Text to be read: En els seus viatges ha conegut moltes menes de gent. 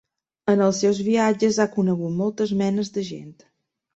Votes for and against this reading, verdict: 3, 0, accepted